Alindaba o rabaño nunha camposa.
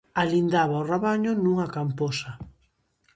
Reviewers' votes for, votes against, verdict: 2, 0, accepted